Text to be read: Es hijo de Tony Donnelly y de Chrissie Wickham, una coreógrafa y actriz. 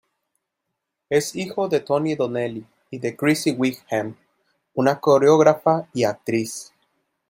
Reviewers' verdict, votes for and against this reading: accepted, 2, 0